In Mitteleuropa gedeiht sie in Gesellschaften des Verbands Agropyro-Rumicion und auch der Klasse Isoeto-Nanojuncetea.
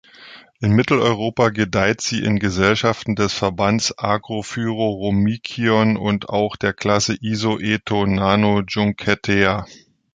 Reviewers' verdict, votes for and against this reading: rejected, 1, 2